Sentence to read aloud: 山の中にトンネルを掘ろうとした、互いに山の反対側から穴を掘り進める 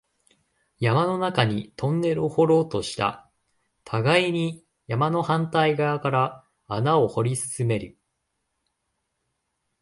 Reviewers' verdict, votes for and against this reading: accepted, 2, 0